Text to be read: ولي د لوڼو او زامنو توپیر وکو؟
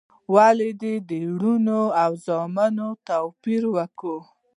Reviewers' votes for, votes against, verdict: 0, 2, rejected